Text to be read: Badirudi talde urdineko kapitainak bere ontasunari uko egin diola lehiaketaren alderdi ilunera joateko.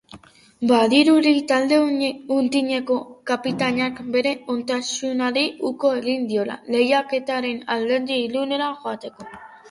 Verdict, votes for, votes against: rejected, 0, 2